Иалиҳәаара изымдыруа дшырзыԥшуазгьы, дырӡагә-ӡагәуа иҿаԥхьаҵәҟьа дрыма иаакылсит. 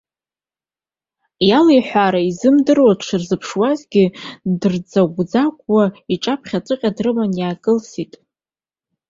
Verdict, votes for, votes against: accepted, 2, 0